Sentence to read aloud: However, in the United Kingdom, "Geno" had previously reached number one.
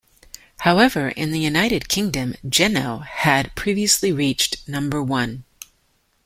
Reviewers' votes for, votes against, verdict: 2, 1, accepted